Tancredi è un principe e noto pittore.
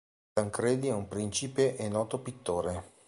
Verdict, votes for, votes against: accepted, 2, 0